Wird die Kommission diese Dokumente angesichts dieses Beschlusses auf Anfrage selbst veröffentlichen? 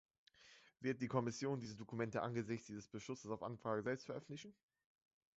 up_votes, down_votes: 2, 1